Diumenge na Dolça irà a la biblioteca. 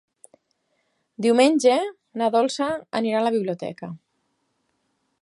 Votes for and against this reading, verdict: 0, 4, rejected